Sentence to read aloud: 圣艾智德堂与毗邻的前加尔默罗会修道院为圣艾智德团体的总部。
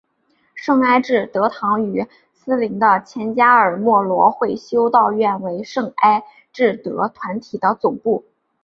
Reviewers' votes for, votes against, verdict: 5, 1, accepted